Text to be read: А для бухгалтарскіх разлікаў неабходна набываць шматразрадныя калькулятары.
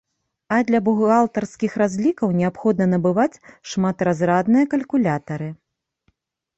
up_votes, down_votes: 2, 0